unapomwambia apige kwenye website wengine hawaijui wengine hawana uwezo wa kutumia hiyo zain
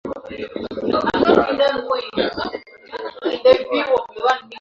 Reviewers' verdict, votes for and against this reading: rejected, 0, 2